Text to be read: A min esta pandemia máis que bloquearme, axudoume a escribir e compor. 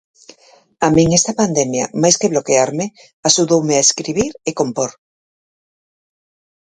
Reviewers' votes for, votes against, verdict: 4, 0, accepted